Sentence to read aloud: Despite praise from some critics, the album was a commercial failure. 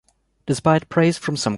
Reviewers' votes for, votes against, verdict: 0, 2, rejected